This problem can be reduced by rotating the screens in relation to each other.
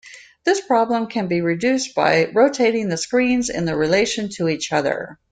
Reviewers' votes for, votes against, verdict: 1, 2, rejected